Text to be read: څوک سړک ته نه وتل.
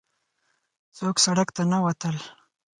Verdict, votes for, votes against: accepted, 4, 0